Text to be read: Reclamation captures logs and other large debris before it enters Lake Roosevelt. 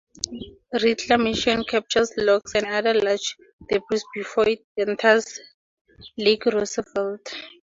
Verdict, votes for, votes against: accepted, 4, 0